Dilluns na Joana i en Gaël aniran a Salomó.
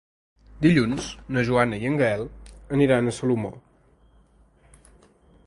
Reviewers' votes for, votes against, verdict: 4, 0, accepted